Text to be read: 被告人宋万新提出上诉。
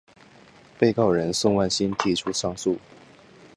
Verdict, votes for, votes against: accepted, 6, 1